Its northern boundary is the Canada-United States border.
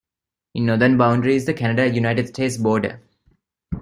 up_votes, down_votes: 0, 2